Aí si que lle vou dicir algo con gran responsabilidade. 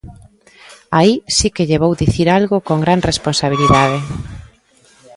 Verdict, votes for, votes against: accepted, 2, 0